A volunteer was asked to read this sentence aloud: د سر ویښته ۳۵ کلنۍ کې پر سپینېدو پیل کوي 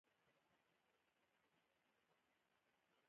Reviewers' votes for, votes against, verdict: 0, 2, rejected